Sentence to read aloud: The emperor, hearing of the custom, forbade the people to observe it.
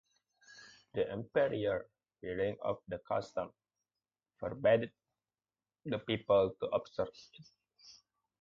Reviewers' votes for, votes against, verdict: 0, 2, rejected